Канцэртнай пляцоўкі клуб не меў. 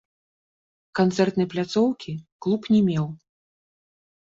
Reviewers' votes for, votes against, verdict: 2, 0, accepted